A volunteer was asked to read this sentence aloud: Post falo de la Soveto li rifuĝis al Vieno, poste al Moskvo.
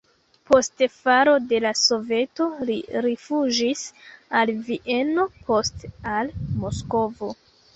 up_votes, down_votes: 1, 2